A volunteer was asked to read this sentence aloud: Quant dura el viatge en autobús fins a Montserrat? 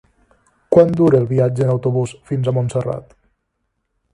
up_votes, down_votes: 4, 0